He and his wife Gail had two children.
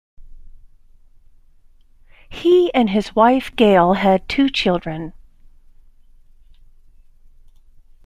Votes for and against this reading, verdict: 2, 0, accepted